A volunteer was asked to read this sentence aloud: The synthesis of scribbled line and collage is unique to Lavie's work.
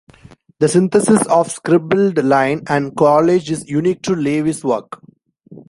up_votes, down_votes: 2, 1